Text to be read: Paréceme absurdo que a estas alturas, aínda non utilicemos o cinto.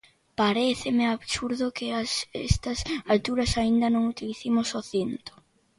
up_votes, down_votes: 2, 1